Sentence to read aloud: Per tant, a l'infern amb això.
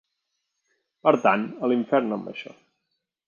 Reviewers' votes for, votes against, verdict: 2, 0, accepted